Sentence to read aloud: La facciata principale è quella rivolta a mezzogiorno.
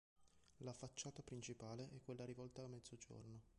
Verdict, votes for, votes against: rejected, 0, 2